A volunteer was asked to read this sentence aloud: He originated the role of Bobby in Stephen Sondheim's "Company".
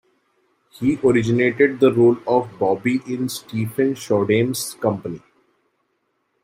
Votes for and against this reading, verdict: 1, 2, rejected